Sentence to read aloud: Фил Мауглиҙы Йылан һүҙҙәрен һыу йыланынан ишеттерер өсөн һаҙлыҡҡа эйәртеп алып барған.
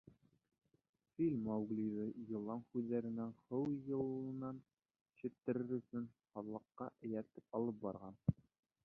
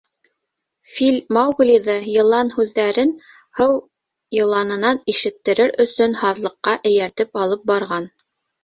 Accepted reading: second